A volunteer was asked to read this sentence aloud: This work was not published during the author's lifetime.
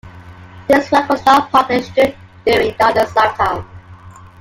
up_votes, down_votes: 0, 2